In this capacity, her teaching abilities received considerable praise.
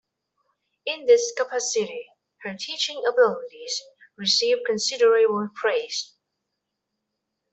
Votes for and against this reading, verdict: 2, 1, accepted